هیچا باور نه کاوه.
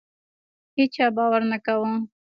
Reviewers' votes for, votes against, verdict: 2, 0, accepted